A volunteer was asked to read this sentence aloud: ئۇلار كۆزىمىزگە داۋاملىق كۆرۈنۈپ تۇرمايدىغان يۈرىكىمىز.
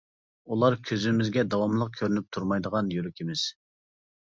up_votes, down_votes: 2, 0